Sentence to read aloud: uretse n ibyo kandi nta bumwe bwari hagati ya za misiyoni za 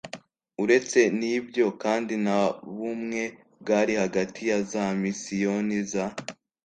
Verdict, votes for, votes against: accepted, 2, 0